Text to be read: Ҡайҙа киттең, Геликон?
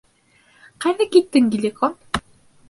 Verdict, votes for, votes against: accepted, 2, 0